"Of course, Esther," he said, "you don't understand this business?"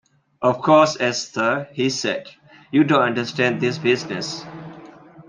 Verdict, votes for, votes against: accepted, 2, 0